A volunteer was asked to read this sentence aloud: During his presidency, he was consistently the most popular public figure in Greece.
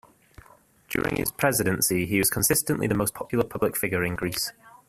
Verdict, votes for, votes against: accepted, 2, 0